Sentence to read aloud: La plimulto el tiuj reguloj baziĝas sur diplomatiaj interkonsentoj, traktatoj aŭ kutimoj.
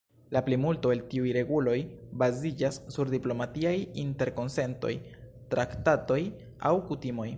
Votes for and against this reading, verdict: 3, 1, accepted